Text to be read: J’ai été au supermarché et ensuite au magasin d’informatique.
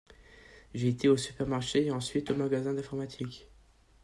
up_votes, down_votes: 2, 0